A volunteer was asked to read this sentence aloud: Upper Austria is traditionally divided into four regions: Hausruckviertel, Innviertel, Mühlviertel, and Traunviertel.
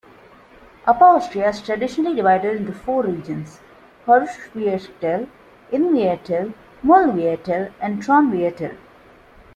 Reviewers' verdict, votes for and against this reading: accepted, 2, 1